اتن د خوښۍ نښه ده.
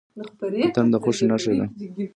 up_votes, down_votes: 2, 1